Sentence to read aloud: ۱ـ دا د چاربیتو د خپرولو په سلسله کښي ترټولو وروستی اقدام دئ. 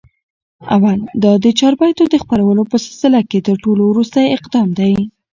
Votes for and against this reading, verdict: 0, 2, rejected